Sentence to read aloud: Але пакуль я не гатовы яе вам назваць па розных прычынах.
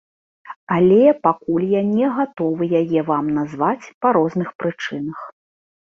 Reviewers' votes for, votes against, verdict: 2, 0, accepted